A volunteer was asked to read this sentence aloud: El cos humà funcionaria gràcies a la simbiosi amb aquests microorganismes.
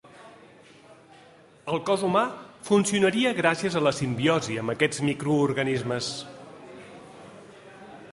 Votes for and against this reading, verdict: 2, 1, accepted